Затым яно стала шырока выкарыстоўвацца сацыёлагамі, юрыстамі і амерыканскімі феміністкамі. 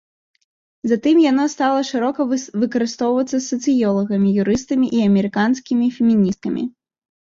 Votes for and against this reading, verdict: 0, 2, rejected